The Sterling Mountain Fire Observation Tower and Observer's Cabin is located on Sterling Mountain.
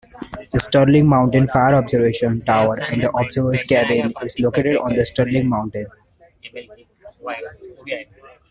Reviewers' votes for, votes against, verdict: 0, 2, rejected